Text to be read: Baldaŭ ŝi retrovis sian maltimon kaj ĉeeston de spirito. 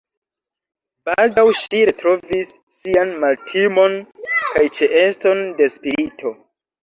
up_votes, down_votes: 2, 1